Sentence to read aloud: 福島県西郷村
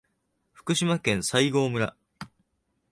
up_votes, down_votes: 2, 1